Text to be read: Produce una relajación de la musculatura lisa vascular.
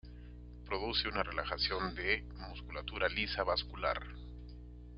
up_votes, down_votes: 0, 2